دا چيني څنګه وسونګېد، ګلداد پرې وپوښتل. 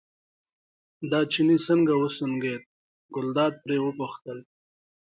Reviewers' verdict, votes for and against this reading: accepted, 2, 0